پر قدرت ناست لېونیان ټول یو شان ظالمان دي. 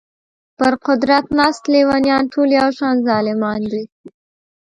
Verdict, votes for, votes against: rejected, 0, 3